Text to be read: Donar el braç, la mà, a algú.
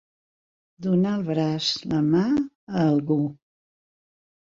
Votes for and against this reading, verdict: 4, 0, accepted